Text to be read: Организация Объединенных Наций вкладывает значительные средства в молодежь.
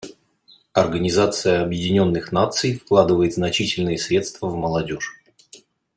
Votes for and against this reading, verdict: 2, 0, accepted